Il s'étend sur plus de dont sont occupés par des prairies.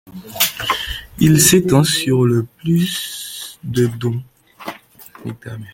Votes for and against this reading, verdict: 0, 2, rejected